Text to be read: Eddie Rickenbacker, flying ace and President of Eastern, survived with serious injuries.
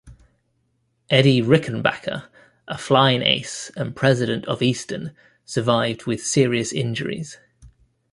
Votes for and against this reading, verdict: 0, 2, rejected